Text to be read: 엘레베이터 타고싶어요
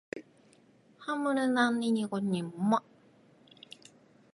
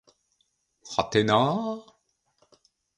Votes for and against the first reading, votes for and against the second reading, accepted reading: 2, 1, 1, 2, first